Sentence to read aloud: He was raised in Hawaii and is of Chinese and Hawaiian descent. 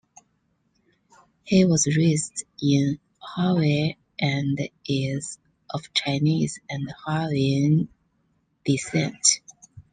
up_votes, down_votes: 0, 2